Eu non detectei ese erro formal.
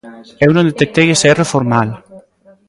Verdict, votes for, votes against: rejected, 1, 2